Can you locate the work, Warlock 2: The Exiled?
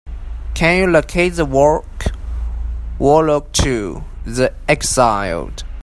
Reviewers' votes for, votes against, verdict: 0, 2, rejected